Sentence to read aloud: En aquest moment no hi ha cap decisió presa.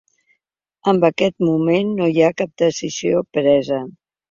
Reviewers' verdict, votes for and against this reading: accepted, 3, 1